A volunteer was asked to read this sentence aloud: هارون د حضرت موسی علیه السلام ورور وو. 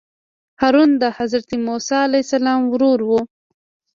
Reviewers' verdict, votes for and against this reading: accepted, 2, 1